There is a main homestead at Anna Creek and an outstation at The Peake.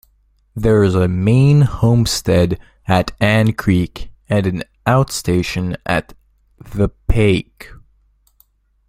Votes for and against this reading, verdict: 1, 2, rejected